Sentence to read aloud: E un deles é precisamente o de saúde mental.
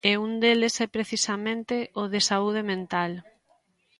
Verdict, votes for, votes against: accepted, 2, 0